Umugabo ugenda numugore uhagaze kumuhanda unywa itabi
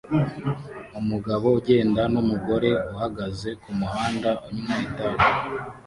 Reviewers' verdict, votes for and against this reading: rejected, 1, 2